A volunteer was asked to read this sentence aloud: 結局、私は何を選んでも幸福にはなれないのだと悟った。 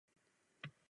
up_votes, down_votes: 0, 2